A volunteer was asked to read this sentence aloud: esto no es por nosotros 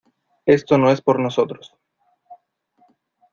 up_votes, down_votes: 2, 0